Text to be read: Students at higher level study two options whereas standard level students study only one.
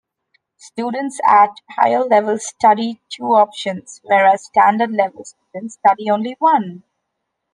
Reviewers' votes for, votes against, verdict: 2, 0, accepted